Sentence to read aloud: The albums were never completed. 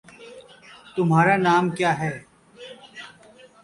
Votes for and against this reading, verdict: 0, 2, rejected